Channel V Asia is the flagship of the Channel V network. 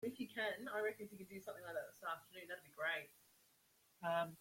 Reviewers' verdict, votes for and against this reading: rejected, 0, 2